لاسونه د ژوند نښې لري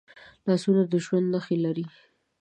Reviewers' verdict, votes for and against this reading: accepted, 2, 0